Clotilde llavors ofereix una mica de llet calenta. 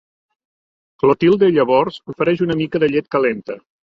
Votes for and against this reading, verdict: 2, 0, accepted